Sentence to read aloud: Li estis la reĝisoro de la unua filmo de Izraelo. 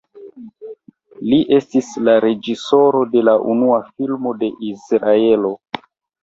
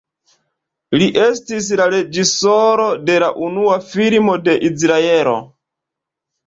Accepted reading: first